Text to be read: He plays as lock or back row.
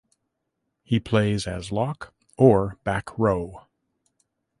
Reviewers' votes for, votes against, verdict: 2, 0, accepted